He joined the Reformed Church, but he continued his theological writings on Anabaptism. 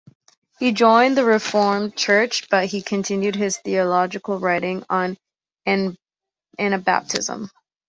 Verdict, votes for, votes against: rejected, 0, 2